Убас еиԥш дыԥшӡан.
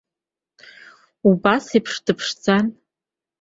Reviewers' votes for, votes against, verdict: 2, 0, accepted